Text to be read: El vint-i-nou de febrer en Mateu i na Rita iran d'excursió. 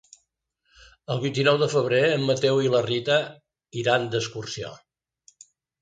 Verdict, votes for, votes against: rejected, 0, 2